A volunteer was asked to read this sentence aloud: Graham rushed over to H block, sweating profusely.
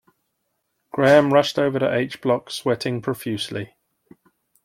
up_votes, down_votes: 2, 0